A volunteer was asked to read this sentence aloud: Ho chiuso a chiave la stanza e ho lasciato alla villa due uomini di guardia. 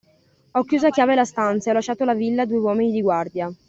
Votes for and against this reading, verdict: 2, 0, accepted